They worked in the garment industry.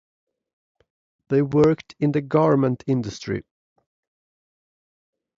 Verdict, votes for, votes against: accepted, 2, 0